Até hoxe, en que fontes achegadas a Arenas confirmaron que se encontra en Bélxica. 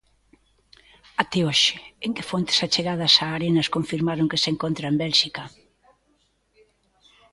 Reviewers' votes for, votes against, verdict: 2, 0, accepted